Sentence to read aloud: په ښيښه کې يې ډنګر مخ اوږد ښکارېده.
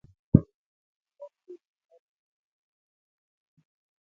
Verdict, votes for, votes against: rejected, 0, 2